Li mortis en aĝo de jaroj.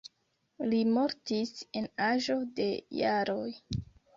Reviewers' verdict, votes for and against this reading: rejected, 1, 2